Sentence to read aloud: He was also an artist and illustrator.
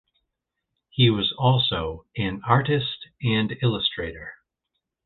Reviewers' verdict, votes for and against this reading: accepted, 2, 0